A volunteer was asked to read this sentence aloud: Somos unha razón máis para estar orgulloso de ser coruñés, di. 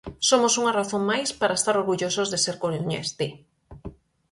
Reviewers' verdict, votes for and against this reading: rejected, 0, 4